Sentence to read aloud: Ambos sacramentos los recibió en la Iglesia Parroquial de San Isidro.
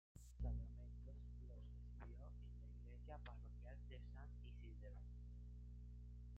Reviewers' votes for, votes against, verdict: 0, 2, rejected